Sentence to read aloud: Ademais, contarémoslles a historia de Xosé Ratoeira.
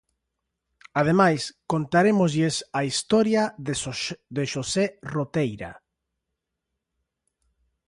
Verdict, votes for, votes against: rejected, 1, 3